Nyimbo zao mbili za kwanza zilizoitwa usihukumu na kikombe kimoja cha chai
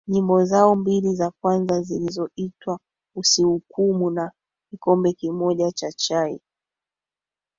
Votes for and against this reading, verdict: 1, 3, rejected